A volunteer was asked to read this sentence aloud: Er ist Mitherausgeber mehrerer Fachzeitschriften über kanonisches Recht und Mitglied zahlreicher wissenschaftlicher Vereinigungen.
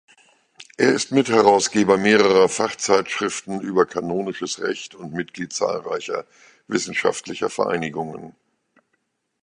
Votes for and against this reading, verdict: 3, 1, accepted